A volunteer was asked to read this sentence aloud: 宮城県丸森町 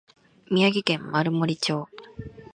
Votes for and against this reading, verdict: 2, 0, accepted